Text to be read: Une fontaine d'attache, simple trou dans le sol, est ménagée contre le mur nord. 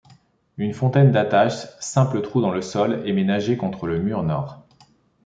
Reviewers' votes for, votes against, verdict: 1, 2, rejected